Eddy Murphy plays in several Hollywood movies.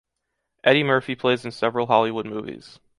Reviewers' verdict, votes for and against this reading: accepted, 2, 1